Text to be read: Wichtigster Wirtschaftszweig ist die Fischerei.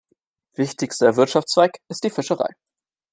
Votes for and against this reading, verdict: 2, 0, accepted